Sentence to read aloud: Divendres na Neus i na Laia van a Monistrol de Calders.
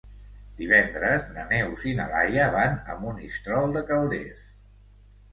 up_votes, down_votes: 2, 0